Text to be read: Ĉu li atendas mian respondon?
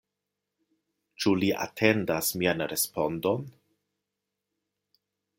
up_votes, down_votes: 2, 0